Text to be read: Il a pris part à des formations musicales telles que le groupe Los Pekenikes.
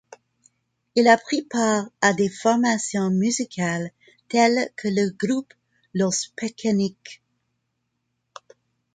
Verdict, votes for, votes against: accepted, 2, 1